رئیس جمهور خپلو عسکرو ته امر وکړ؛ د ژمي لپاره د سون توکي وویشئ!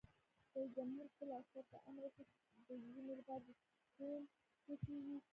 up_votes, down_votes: 0, 2